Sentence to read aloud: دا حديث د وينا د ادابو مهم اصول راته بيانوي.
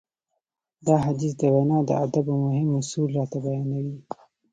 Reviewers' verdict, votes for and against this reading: accepted, 2, 0